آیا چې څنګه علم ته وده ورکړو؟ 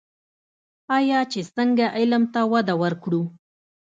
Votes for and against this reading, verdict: 2, 0, accepted